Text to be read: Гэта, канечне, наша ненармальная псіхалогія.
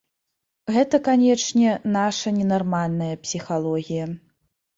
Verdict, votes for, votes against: accepted, 2, 0